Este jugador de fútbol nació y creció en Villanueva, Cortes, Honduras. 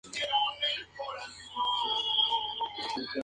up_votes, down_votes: 2, 2